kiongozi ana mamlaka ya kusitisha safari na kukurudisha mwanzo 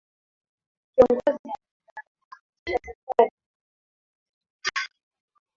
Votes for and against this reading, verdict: 1, 2, rejected